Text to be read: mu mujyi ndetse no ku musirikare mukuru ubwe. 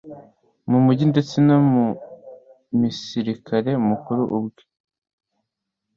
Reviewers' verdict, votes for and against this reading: rejected, 1, 2